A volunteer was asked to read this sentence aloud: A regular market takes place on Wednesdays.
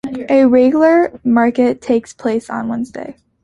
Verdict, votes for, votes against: accepted, 2, 0